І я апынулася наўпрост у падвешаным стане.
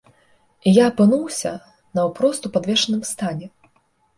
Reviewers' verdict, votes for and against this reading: rejected, 1, 2